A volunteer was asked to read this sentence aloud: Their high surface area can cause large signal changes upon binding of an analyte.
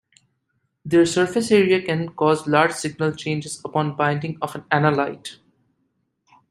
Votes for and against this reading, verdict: 1, 2, rejected